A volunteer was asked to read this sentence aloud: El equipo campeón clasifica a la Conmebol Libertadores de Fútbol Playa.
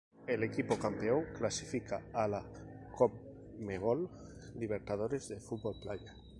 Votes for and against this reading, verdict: 2, 2, rejected